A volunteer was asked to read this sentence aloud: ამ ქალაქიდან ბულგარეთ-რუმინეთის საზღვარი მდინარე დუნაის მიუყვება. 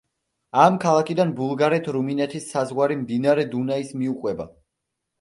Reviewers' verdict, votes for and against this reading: accepted, 2, 0